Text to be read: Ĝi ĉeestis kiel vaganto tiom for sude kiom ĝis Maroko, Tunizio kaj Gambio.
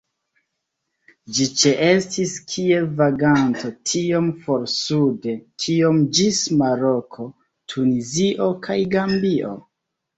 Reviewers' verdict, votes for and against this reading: rejected, 0, 2